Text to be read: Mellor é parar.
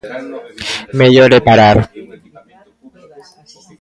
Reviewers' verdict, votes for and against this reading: rejected, 0, 2